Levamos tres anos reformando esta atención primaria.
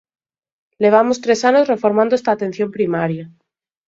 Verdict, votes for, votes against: accepted, 2, 0